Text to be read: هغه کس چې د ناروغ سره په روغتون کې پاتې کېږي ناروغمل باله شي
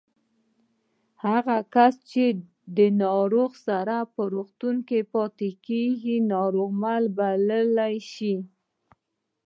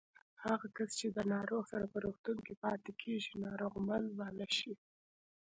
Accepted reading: second